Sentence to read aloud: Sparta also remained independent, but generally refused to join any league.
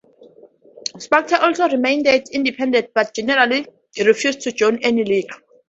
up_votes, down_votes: 0, 2